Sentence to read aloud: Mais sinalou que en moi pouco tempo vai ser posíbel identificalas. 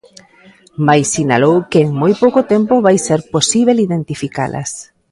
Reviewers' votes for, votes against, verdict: 1, 2, rejected